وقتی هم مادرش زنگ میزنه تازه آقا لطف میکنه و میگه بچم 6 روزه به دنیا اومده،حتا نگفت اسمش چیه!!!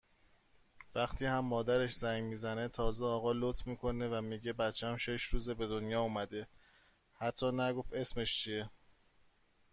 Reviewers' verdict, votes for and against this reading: rejected, 0, 2